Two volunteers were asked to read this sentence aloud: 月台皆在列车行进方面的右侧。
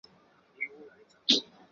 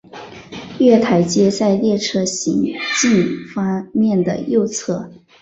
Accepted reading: second